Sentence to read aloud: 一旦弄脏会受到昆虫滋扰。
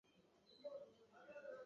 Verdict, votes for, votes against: rejected, 0, 2